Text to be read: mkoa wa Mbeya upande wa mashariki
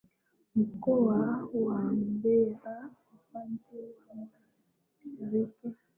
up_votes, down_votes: 1, 4